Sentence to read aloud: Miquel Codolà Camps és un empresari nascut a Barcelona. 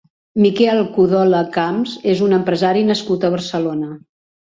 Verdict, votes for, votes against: rejected, 0, 2